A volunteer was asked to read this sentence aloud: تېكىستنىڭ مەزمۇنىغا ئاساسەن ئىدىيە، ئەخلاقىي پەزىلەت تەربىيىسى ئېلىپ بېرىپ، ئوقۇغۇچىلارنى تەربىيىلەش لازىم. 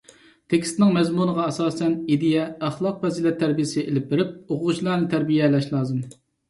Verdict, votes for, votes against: rejected, 1, 2